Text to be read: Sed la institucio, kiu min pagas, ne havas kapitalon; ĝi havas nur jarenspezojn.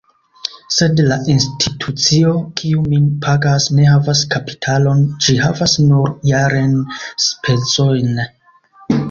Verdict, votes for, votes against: accepted, 2, 0